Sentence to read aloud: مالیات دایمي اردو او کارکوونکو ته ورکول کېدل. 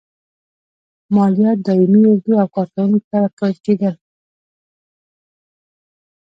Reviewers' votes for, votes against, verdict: 1, 2, rejected